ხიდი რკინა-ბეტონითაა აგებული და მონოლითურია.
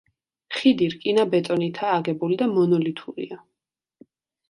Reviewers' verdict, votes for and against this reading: accepted, 2, 0